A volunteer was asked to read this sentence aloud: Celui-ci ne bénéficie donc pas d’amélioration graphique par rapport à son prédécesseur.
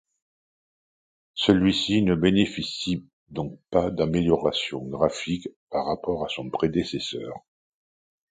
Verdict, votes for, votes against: accepted, 2, 0